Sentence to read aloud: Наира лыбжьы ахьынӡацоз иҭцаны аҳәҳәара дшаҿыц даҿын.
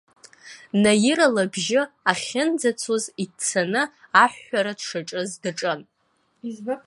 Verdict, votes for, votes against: rejected, 0, 2